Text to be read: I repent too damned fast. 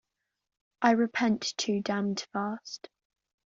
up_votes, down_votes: 2, 0